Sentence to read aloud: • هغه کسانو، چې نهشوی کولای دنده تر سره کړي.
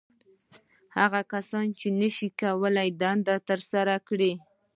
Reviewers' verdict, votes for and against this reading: rejected, 1, 2